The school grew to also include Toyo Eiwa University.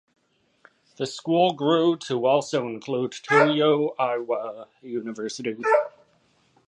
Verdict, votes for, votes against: rejected, 1, 2